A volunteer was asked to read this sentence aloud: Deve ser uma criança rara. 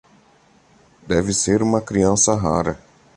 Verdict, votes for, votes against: accepted, 2, 0